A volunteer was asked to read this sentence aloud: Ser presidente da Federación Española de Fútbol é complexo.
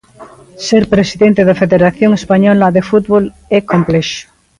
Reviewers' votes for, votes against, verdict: 2, 0, accepted